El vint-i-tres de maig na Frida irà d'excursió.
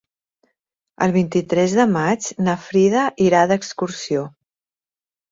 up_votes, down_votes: 6, 0